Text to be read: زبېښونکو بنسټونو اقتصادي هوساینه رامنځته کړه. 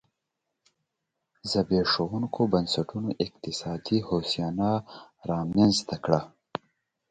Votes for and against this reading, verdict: 0, 2, rejected